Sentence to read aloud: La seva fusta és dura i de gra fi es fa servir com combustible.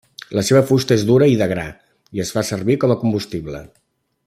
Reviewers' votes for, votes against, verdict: 0, 2, rejected